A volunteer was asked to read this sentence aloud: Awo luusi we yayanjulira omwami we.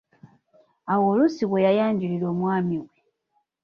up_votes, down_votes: 1, 2